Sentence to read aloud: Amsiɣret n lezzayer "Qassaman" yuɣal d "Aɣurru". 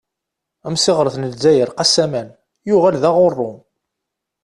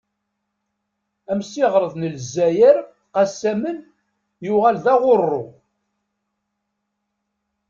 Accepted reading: first